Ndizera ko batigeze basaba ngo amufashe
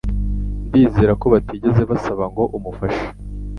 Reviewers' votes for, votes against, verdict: 2, 0, accepted